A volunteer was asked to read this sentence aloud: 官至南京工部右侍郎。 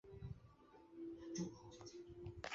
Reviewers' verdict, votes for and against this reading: rejected, 2, 3